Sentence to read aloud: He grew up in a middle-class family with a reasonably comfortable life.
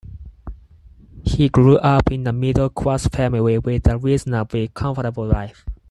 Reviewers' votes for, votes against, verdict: 4, 0, accepted